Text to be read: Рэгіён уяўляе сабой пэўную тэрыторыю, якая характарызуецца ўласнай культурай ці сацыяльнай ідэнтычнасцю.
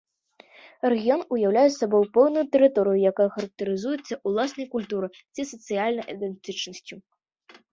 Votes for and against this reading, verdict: 2, 0, accepted